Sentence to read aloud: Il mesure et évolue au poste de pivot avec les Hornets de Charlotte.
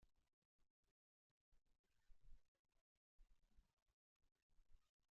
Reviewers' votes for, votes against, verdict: 0, 2, rejected